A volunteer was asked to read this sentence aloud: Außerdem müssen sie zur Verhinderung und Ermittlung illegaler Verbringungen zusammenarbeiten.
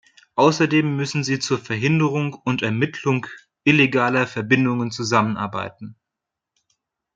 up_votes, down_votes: 0, 2